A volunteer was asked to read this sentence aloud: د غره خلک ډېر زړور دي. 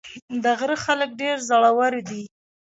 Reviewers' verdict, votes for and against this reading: accepted, 2, 0